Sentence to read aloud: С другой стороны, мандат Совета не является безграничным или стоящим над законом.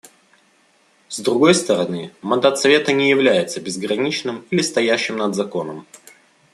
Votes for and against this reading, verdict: 2, 0, accepted